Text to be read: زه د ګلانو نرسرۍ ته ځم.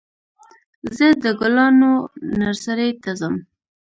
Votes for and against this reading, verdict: 1, 2, rejected